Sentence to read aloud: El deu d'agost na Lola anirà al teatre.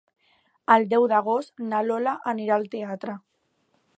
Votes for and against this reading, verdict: 2, 0, accepted